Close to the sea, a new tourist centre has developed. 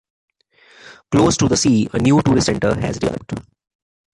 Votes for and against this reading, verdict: 2, 0, accepted